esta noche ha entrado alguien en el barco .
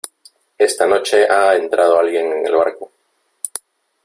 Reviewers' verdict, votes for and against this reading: rejected, 1, 2